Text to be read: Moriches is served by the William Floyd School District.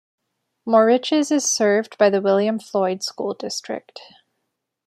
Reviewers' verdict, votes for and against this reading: accepted, 2, 1